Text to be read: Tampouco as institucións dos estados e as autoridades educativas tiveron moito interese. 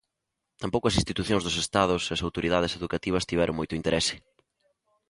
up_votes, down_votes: 2, 0